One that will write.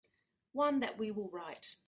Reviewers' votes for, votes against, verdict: 1, 2, rejected